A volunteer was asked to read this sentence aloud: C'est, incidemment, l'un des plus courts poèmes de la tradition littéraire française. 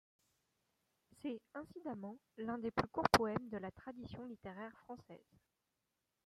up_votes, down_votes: 0, 2